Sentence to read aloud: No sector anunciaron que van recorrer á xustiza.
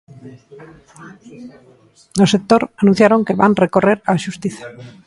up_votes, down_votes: 2, 0